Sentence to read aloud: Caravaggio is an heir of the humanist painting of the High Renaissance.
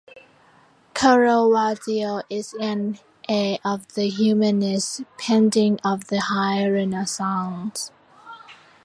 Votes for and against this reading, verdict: 2, 0, accepted